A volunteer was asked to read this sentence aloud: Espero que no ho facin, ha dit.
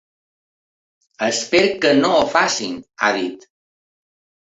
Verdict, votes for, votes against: accepted, 2, 1